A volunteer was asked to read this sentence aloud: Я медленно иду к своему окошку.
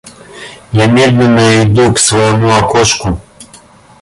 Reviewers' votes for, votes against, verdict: 1, 2, rejected